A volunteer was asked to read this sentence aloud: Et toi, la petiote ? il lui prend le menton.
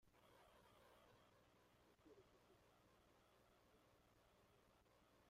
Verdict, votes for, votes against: rejected, 0, 2